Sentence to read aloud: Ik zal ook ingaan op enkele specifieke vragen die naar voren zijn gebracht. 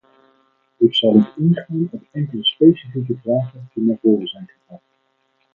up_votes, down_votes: 2, 4